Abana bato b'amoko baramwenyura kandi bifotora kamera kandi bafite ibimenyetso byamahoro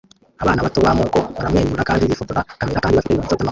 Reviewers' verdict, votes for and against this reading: rejected, 0, 2